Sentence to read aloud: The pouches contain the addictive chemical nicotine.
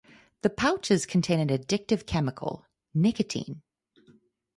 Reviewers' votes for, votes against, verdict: 4, 0, accepted